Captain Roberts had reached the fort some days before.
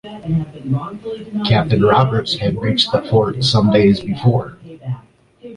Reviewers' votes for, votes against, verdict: 2, 0, accepted